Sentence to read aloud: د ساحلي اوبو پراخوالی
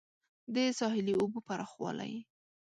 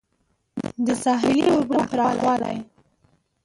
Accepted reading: second